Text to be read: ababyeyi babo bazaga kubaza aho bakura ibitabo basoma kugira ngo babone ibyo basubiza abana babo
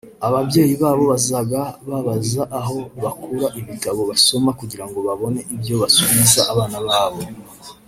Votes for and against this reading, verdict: 0, 2, rejected